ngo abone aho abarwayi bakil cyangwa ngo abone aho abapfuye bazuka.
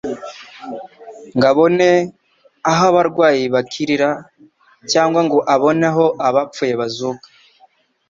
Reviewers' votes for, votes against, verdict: 0, 2, rejected